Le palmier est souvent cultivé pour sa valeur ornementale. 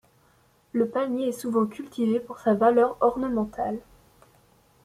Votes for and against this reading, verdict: 1, 2, rejected